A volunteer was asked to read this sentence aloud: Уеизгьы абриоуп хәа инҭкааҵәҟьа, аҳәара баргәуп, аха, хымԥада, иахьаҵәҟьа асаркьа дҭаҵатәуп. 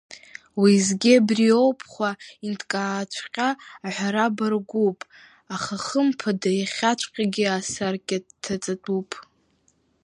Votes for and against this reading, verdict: 1, 2, rejected